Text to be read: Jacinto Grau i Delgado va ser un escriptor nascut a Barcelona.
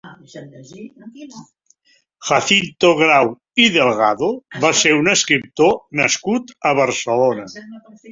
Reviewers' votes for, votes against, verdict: 2, 0, accepted